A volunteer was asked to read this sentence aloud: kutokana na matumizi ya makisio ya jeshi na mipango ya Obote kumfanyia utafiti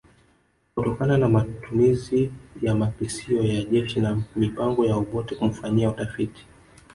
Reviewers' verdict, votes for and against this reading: rejected, 1, 2